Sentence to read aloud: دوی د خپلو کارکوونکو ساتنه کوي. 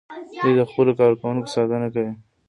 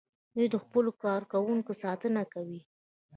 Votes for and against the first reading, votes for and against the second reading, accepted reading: 2, 0, 1, 2, first